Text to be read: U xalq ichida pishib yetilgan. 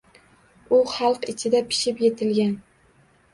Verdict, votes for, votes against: accepted, 2, 0